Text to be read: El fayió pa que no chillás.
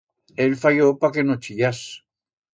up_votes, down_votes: 2, 0